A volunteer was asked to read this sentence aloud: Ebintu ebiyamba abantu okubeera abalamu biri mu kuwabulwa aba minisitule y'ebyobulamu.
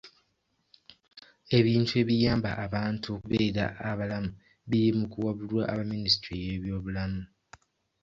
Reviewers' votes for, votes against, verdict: 2, 0, accepted